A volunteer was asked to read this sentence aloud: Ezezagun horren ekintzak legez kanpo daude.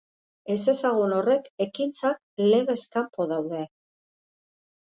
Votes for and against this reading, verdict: 0, 2, rejected